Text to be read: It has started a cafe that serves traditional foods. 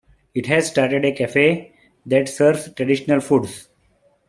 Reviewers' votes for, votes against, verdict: 2, 0, accepted